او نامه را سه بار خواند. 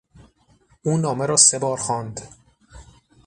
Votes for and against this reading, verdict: 6, 0, accepted